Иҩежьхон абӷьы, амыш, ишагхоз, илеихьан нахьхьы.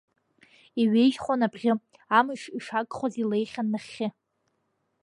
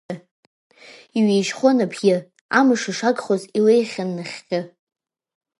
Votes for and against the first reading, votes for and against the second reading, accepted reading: 2, 0, 1, 2, first